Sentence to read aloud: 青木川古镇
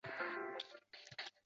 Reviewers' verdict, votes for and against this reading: rejected, 1, 5